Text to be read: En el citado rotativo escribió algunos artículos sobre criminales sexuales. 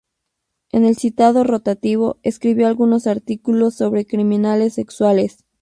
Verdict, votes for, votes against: rejected, 2, 2